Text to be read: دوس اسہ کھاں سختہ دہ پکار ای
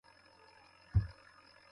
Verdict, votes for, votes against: rejected, 0, 2